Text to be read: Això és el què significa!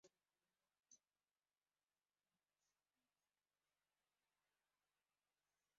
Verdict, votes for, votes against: rejected, 0, 2